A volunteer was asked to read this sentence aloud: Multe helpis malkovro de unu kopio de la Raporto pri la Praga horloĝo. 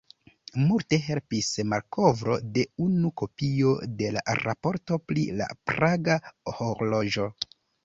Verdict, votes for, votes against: rejected, 1, 2